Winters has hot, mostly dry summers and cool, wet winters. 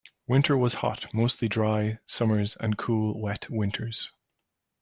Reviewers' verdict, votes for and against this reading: rejected, 1, 2